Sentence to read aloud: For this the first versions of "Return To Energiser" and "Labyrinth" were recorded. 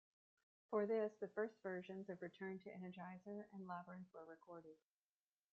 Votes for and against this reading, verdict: 1, 2, rejected